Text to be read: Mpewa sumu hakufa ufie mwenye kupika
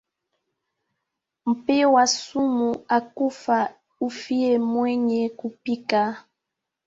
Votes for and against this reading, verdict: 1, 2, rejected